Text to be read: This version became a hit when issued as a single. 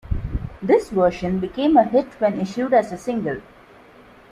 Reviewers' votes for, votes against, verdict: 2, 0, accepted